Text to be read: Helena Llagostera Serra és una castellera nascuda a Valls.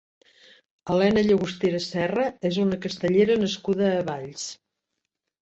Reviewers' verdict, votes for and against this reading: accepted, 3, 0